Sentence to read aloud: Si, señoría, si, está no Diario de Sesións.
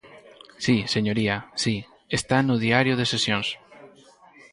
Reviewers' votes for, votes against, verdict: 4, 0, accepted